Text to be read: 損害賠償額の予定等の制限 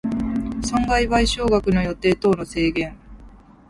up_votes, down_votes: 2, 0